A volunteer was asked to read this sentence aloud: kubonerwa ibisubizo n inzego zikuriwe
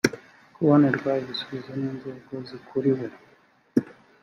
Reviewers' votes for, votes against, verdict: 4, 0, accepted